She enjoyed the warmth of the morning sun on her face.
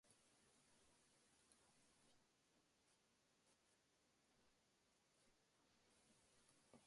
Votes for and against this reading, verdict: 1, 3, rejected